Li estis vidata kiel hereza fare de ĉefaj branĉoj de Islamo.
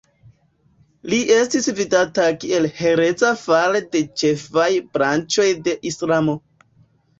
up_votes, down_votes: 2, 1